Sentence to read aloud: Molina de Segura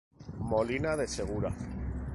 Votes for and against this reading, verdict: 2, 0, accepted